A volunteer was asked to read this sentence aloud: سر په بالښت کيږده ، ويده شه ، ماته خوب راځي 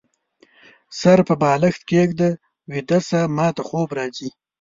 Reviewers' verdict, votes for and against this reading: accepted, 2, 0